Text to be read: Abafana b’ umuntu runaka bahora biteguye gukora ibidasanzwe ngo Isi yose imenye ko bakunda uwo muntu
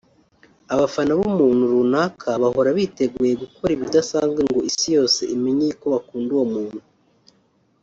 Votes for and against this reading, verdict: 1, 2, rejected